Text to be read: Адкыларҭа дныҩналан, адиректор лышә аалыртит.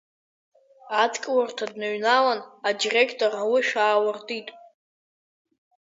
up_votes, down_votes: 3, 4